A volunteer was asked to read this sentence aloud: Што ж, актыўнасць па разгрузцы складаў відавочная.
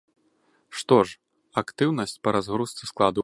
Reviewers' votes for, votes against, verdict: 1, 2, rejected